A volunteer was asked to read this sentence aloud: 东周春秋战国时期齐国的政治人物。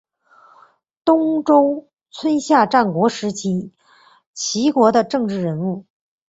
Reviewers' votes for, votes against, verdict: 2, 0, accepted